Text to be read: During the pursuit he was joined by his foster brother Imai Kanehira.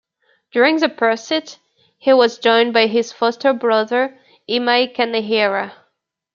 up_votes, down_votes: 1, 2